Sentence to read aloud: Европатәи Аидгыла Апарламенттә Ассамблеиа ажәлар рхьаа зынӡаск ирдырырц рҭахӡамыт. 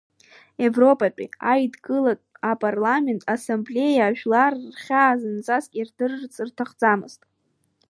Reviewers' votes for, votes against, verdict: 1, 2, rejected